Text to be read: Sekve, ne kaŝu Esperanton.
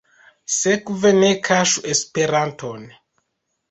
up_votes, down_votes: 1, 2